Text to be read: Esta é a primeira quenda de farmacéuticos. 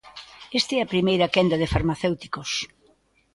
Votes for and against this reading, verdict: 2, 0, accepted